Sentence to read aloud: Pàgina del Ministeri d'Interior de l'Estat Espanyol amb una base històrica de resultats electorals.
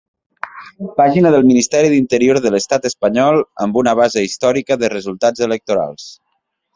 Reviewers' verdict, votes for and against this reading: accepted, 3, 0